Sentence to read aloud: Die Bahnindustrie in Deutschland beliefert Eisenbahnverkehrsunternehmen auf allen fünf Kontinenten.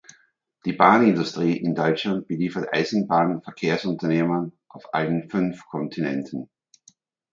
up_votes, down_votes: 2, 1